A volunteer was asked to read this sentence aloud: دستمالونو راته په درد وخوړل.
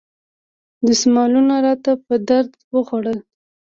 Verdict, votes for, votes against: rejected, 1, 2